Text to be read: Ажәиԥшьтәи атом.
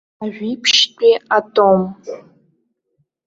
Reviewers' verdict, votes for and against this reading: rejected, 0, 2